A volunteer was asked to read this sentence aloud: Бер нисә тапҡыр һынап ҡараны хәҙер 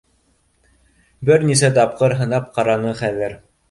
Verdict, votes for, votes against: accepted, 2, 0